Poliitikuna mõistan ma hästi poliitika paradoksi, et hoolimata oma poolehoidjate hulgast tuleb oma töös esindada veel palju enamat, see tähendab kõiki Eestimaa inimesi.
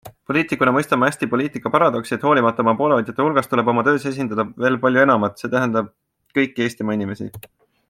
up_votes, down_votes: 2, 0